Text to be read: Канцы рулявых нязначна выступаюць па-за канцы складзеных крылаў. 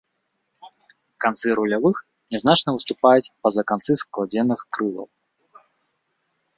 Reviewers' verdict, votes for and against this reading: accepted, 2, 1